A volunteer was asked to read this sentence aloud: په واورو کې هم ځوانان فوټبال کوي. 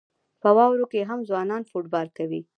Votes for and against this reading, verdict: 1, 2, rejected